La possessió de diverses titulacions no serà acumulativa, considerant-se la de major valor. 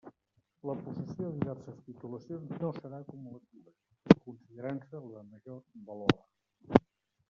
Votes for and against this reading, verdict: 0, 2, rejected